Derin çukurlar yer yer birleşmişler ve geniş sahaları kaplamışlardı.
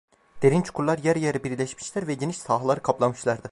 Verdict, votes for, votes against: rejected, 0, 2